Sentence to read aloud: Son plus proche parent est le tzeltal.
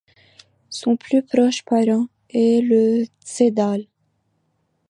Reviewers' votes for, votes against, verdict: 0, 2, rejected